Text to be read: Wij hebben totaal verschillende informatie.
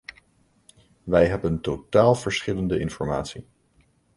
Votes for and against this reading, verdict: 2, 0, accepted